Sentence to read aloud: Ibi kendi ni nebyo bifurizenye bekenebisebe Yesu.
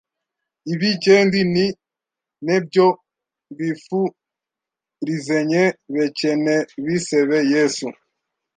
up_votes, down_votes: 1, 2